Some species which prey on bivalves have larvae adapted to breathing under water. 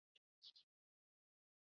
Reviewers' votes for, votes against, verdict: 0, 2, rejected